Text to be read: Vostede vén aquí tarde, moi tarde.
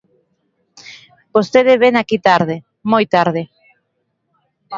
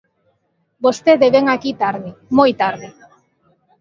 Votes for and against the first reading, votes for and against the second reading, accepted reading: 1, 2, 2, 1, second